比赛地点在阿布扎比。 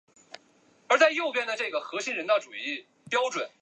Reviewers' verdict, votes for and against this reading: rejected, 0, 3